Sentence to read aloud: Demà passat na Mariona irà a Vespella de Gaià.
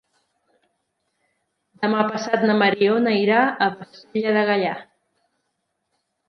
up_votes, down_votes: 1, 2